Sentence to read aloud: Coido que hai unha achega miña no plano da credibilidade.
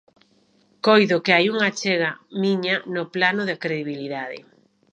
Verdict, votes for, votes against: rejected, 1, 2